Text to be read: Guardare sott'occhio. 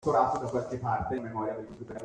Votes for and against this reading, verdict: 0, 2, rejected